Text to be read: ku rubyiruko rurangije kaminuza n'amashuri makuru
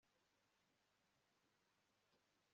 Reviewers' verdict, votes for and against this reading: rejected, 1, 2